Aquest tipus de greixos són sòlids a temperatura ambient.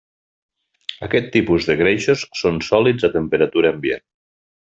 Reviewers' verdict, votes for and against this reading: accepted, 3, 0